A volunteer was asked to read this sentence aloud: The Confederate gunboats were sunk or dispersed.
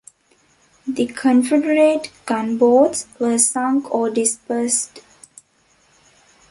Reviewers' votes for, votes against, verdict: 2, 0, accepted